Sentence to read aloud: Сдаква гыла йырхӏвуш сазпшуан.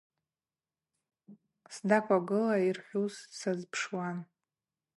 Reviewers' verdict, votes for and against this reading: rejected, 0, 2